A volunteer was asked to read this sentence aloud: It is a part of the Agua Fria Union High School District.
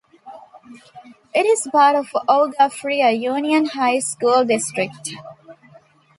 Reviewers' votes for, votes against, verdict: 1, 2, rejected